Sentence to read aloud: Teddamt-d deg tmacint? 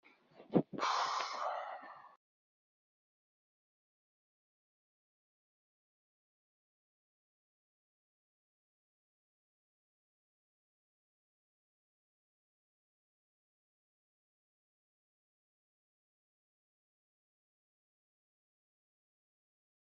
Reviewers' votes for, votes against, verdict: 1, 2, rejected